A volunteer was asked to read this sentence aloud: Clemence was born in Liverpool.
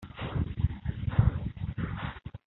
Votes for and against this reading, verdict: 0, 2, rejected